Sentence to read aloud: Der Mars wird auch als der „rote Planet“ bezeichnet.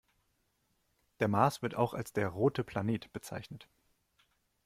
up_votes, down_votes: 2, 0